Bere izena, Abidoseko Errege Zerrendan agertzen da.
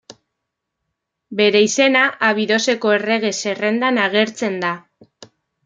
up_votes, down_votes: 2, 1